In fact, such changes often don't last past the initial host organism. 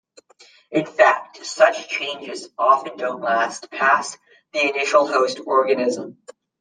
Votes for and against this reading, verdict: 2, 0, accepted